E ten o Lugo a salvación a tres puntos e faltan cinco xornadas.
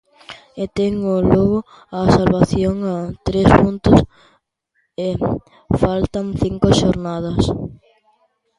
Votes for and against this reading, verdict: 2, 0, accepted